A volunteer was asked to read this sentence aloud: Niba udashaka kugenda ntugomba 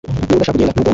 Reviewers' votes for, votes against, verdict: 1, 2, rejected